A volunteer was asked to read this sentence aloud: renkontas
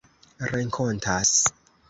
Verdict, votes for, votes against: accepted, 2, 0